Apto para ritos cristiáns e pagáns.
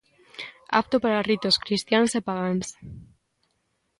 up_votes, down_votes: 2, 0